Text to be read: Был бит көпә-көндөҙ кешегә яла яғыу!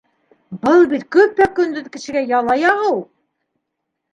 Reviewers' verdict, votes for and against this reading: accepted, 2, 0